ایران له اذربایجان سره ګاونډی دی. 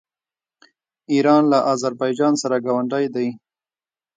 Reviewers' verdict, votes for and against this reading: rejected, 0, 2